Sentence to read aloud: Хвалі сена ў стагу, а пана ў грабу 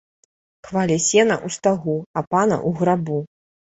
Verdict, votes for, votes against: rejected, 1, 2